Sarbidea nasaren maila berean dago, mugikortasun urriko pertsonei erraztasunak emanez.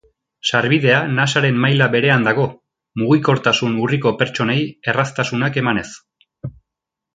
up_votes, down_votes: 2, 0